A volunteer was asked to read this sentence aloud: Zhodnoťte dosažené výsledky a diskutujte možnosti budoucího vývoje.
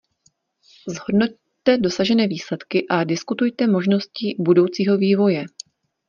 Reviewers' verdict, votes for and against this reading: accepted, 2, 0